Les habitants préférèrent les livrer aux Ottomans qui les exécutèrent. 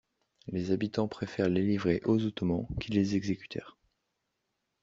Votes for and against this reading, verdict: 0, 2, rejected